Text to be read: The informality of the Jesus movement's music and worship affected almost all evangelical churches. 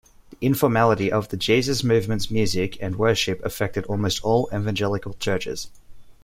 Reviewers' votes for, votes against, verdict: 0, 2, rejected